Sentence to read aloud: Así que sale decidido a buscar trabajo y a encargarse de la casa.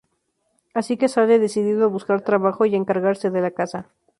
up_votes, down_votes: 0, 2